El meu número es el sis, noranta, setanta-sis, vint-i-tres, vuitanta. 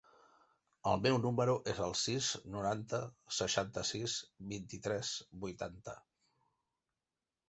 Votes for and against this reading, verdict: 1, 2, rejected